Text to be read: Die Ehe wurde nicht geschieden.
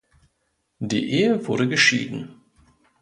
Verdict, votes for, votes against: rejected, 1, 2